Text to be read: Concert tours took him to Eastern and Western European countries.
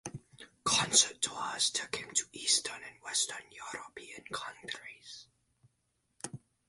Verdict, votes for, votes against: rejected, 2, 4